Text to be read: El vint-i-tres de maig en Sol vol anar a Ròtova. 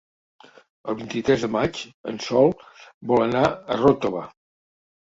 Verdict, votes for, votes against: accepted, 3, 0